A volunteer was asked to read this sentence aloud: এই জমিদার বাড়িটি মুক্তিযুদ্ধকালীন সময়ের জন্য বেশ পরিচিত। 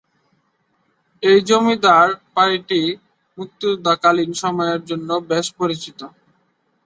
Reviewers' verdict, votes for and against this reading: rejected, 1, 2